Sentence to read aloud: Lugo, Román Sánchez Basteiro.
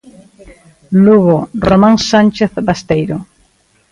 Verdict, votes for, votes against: accepted, 2, 0